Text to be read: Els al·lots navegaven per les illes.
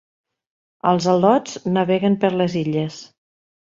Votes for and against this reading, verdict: 0, 2, rejected